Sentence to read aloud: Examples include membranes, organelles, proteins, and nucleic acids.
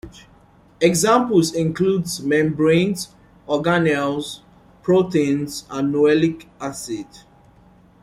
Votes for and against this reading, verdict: 0, 3, rejected